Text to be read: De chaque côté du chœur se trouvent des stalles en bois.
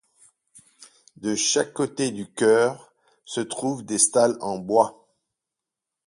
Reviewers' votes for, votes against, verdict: 4, 0, accepted